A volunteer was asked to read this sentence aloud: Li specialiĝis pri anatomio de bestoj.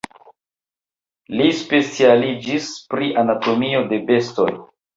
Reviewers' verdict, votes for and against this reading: rejected, 1, 2